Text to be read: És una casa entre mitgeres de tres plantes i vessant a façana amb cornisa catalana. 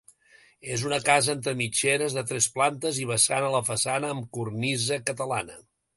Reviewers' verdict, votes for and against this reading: rejected, 1, 2